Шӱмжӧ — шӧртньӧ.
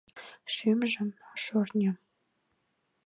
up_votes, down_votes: 1, 2